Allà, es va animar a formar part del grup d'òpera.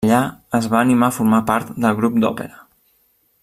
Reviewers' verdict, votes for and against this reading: rejected, 1, 2